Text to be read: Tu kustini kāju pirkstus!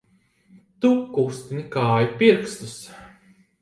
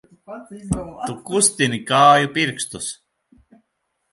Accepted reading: first